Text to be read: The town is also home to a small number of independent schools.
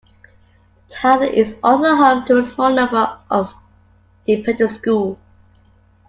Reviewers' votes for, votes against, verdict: 0, 2, rejected